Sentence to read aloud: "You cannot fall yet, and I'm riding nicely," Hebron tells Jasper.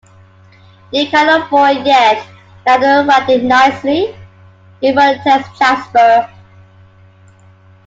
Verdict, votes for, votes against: rejected, 0, 2